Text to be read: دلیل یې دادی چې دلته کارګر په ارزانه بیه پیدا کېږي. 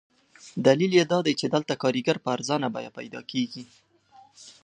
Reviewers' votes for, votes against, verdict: 2, 0, accepted